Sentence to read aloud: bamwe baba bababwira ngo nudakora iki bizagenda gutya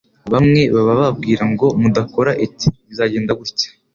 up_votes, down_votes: 3, 0